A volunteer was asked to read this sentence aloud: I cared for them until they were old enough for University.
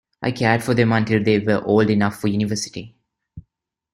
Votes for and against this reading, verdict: 2, 0, accepted